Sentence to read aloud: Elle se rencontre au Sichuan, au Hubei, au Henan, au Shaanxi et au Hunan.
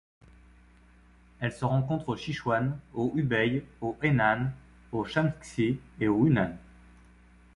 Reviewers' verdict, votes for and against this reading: accepted, 2, 0